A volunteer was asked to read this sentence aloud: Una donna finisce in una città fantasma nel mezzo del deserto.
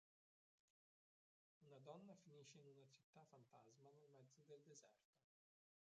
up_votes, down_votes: 0, 2